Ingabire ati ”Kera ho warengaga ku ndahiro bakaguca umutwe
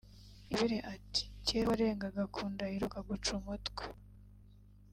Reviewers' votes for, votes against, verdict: 2, 0, accepted